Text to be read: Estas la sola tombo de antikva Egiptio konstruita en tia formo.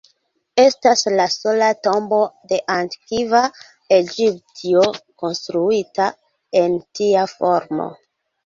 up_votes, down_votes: 0, 2